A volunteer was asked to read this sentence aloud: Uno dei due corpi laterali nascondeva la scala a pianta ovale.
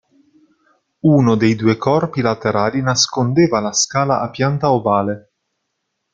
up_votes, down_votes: 2, 0